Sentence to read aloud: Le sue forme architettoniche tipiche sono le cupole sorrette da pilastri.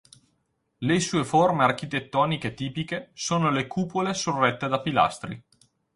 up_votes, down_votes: 4, 0